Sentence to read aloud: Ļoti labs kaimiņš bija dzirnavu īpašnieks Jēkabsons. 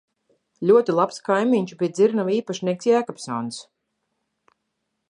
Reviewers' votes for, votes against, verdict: 2, 0, accepted